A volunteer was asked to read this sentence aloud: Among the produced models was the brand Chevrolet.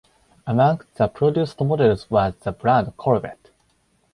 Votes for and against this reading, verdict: 0, 4, rejected